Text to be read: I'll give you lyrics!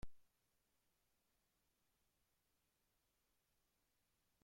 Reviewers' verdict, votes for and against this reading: rejected, 0, 2